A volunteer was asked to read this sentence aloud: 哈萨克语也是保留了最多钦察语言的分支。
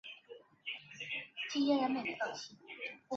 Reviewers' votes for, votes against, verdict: 1, 4, rejected